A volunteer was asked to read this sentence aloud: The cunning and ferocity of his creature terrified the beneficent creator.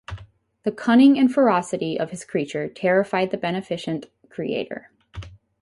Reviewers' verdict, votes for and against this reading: rejected, 2, 2